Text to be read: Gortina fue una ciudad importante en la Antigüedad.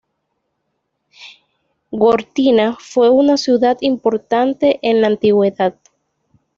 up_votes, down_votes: 2, 0